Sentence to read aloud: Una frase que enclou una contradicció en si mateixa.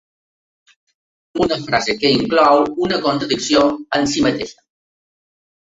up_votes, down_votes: 2, 1